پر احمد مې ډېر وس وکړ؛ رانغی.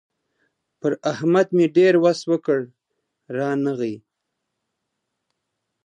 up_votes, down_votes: 2, 0